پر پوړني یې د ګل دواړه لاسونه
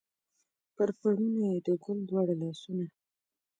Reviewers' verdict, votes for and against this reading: accepted, 3, 0